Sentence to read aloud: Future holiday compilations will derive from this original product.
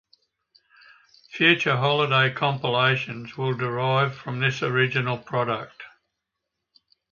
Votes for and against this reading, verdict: 2, 0, accepted